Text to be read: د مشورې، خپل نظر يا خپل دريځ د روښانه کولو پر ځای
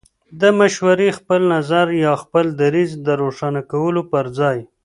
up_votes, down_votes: 2, 0